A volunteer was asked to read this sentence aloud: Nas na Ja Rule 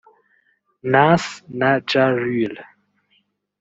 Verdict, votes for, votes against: rejected, 0, 2